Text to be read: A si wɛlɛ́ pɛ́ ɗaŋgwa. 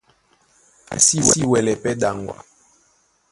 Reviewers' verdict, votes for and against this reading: rejected, 1, 2